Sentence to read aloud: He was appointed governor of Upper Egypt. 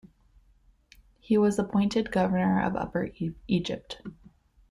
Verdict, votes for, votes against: rejected, 1, 2